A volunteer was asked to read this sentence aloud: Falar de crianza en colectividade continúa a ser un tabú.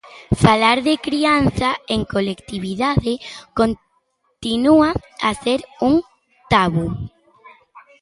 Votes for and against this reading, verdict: 1, 2, rejected